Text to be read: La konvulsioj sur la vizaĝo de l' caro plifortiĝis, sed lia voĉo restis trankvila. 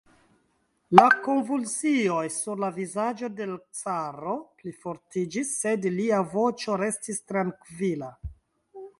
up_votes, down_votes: 1, 2